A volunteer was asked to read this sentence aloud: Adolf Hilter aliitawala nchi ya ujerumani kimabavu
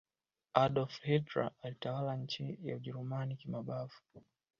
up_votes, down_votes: 0, 2